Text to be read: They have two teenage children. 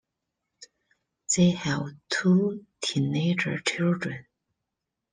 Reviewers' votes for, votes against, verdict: 0, 2, rejected